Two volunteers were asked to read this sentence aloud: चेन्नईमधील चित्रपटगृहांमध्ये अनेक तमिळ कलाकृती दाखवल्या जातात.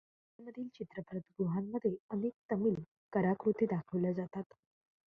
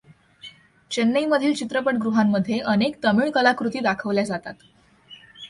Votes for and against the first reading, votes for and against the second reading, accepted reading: 0, 2, 2, 0, second